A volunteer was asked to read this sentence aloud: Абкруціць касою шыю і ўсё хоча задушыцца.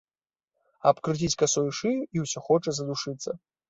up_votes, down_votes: 2, 1